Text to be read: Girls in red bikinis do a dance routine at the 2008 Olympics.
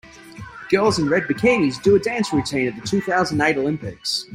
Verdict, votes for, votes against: rejected, 0, 2